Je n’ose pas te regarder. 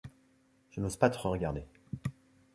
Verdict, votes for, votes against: rejected, 0, 2